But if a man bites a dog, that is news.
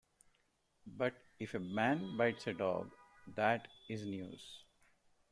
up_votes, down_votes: 2, 0